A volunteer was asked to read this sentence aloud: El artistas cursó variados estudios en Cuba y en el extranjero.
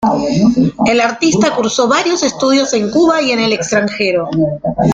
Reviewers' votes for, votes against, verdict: 1, 2, rejected